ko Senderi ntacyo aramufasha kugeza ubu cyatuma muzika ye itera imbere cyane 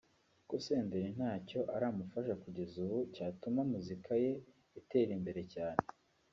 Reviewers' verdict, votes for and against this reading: rejected, 1, 2